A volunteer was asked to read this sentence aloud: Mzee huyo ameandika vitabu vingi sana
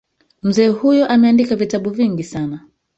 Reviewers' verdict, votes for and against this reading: rejected, 1, 2